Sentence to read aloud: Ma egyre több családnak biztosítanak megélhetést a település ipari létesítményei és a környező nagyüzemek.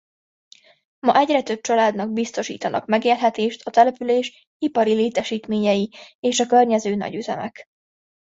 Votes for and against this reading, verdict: 2, 0, accepted